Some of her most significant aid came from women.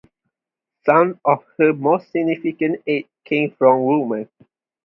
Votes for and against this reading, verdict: 2, 0, accepted